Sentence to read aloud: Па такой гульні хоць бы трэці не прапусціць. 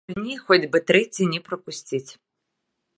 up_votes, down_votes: 0, 2